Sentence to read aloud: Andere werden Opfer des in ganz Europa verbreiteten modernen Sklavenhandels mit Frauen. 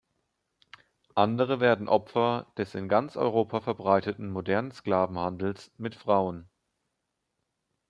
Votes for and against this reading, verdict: 2, 0, accepted